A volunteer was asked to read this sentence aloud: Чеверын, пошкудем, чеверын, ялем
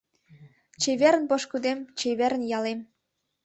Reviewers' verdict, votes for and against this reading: accepted, 2, 0